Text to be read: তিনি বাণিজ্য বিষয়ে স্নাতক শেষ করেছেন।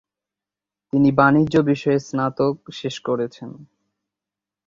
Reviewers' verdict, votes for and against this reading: accepted, 2, 0